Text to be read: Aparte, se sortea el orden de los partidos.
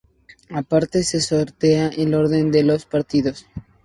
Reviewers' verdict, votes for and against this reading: rejected, 0, 2